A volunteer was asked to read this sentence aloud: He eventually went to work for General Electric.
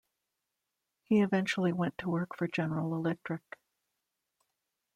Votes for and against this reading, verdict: 2, 0, accepted